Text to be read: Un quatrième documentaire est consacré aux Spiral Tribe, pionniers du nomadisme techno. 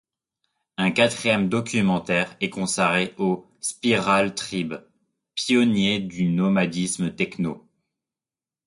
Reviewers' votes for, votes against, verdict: 0, 2, rejected